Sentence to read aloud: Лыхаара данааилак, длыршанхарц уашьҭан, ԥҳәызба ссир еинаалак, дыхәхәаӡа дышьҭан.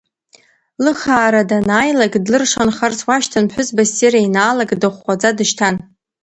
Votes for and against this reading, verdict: 3, 0, accepted